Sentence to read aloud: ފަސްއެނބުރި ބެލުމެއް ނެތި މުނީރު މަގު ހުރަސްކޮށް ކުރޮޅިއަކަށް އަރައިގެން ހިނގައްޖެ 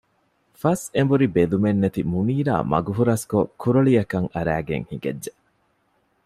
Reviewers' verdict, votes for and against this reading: rejected, 0, 2